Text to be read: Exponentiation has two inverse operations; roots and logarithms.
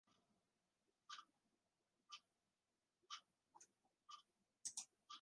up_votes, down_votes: 0, 2